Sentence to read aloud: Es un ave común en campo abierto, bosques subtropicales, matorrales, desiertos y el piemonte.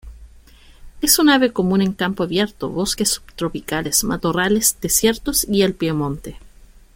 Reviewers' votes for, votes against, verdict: 1, 2, rejected